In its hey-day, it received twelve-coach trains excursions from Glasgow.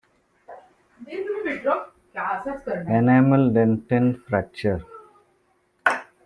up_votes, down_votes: 0, 2